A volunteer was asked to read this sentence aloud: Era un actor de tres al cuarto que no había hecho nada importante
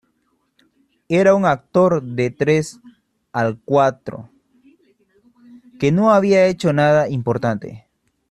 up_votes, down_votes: 0, 2